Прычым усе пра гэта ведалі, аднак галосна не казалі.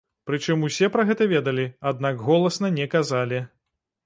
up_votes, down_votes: 0, 2